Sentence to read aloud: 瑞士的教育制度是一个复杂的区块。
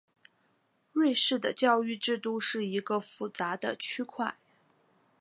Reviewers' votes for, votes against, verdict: 6, 0, accepted